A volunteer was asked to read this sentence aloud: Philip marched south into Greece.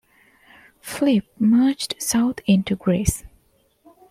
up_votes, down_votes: 2, 1